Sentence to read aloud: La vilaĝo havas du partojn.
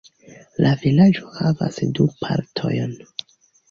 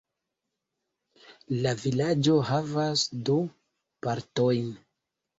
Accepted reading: first